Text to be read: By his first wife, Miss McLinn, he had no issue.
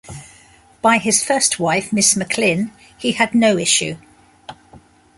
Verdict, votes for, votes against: accepted, 2, 1